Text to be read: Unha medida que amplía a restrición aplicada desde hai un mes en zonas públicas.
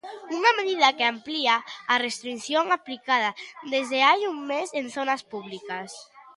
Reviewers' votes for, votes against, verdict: 2, 0, accepted